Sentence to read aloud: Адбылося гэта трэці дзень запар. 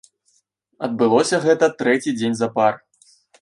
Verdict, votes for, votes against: rejected, 0, 2